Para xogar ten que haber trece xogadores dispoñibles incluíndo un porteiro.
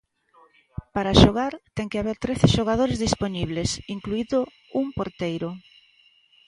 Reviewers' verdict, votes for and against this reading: rejected, 0, 2